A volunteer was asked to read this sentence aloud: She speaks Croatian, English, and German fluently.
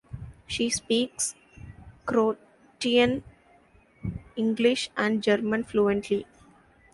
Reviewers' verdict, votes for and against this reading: rejected, 0, 2